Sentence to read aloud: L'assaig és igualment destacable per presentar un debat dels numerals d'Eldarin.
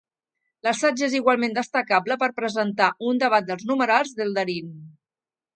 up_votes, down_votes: 2, 0